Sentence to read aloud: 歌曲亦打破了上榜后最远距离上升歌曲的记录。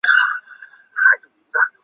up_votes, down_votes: 0, 2